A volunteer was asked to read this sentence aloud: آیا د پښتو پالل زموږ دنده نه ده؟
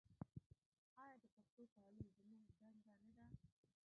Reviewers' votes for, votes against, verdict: 1, 2, rejected